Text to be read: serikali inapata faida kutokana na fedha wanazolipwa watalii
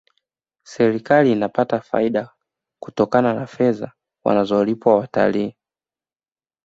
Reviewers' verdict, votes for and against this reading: accepted, 2, 0